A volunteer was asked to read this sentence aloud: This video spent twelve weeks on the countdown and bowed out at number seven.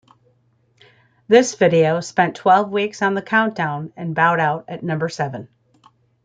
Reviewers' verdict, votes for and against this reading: accepted, 2, 1